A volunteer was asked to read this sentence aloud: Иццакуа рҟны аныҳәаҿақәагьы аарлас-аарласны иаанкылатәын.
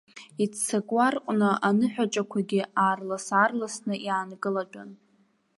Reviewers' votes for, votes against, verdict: 2, 0, accepted